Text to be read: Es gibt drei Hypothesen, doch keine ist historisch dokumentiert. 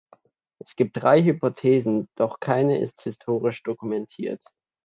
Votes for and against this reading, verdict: 2, 0, accepted